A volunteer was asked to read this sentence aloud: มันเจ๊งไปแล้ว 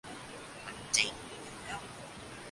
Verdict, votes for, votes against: rejected, 0, 2